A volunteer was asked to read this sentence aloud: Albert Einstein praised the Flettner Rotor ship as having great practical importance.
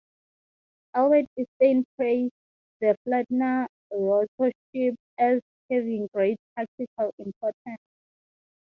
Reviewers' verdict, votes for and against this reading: rejected, 0, 6